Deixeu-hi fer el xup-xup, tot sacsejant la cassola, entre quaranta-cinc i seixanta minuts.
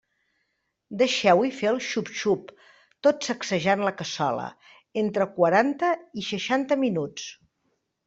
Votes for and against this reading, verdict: 0, 2, rejected